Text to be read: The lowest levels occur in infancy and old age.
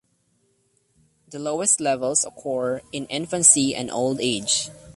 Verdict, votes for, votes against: accepted, 2, 0